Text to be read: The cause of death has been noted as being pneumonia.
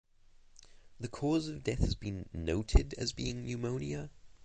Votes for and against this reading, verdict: 2, 0, accepted